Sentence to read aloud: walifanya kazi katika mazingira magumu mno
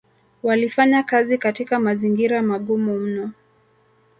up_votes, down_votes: 2, 0